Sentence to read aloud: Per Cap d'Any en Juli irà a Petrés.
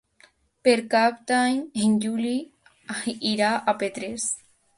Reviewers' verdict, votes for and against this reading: rejected, 1, 2